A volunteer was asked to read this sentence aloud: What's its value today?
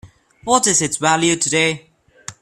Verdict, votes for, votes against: rejected, 1, 2